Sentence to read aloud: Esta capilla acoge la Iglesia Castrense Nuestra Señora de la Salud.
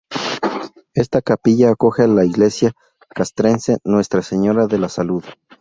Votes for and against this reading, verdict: 2, 2, rejected